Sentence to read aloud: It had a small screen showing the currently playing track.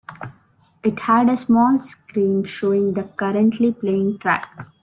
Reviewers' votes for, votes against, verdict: 2, 0, accepted